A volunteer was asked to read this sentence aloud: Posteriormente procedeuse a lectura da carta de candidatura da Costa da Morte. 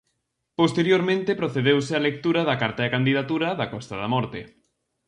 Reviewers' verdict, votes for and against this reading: accepted, 4, 0